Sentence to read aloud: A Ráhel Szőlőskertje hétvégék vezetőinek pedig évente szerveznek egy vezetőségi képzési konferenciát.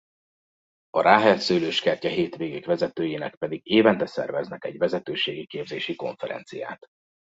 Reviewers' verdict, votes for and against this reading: accepted, 2, 0